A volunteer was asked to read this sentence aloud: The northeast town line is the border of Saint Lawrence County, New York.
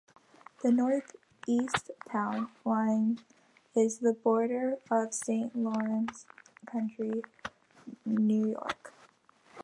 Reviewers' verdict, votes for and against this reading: rejected, 1, 2